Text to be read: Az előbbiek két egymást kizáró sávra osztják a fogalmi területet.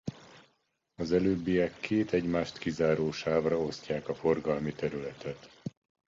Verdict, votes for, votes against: rejected, 0, 2